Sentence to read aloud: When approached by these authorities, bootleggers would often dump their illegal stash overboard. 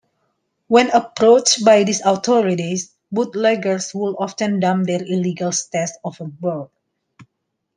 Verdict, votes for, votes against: rejected, 1, 2